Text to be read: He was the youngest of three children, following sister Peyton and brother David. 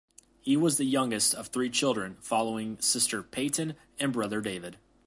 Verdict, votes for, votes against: accepted, 2, 0